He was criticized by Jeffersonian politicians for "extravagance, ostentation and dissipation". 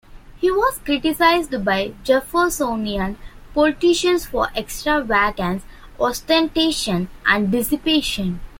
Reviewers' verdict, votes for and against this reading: rejected, 1, 2